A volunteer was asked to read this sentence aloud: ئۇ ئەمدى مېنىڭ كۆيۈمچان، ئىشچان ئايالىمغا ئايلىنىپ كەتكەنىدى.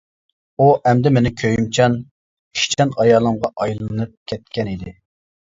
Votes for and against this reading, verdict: 0, 2, rejected